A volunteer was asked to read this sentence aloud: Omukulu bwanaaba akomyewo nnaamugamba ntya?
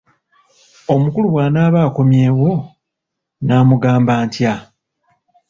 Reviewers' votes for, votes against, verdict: 2, 0, accepted